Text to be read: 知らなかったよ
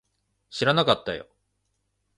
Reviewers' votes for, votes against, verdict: 2, 0, accepted